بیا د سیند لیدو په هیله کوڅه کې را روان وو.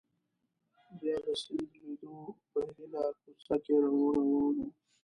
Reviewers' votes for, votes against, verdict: 0, 2, rejected